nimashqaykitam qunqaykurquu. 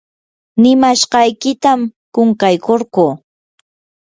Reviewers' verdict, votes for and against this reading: accepted, 4, 0